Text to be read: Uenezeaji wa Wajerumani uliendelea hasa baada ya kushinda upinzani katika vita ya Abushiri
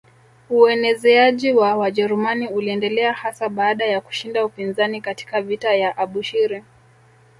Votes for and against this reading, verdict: 0, 2, rejected